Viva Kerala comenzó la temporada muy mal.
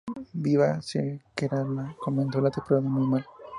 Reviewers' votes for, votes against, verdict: 0, 2, rejected